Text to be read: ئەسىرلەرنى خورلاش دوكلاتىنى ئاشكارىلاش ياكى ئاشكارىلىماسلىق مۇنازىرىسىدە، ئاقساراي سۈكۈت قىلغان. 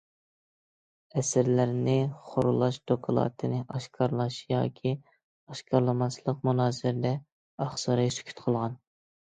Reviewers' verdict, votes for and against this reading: rejected, 0, 2